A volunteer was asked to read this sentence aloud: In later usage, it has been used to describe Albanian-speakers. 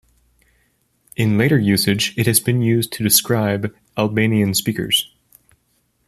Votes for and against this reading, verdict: 2, 0, accepted